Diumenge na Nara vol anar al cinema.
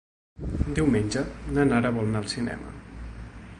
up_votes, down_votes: 3, 1